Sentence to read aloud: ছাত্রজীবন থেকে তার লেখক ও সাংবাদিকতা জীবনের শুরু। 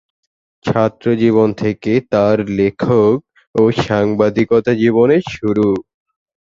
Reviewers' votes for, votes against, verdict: 0, 2, rejected